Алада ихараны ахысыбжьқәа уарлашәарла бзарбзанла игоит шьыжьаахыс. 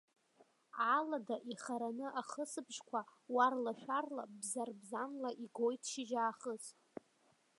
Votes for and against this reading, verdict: 1, 2, rejected